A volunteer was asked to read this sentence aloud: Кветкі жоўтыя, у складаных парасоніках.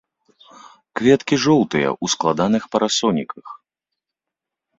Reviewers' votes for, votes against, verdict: 3, 0, accepted